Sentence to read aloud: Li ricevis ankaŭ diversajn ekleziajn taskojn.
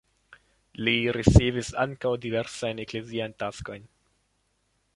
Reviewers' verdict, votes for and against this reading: rejected, 0, 2